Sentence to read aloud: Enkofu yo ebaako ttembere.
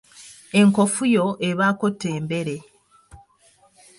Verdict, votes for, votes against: rejected, 1, 2